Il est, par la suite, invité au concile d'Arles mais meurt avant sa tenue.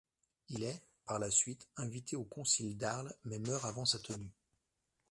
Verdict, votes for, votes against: accepted, 2, 0